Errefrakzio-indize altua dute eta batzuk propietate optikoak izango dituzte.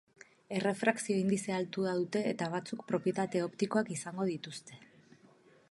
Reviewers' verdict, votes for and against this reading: rejected, 2, 2